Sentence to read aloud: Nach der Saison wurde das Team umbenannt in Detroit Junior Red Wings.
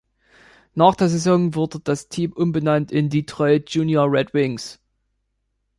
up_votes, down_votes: 2, 0